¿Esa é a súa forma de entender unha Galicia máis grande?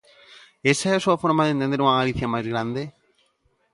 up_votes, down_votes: 1, 2